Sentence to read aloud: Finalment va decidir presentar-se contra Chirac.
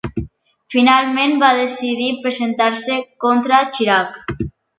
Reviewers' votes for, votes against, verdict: 2, 0, accepted